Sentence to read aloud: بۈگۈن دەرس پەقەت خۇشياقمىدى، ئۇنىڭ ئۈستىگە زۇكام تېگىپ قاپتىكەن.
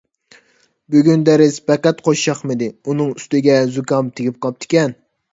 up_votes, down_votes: 2, 0